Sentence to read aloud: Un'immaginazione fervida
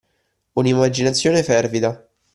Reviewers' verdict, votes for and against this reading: accepted, 2, 0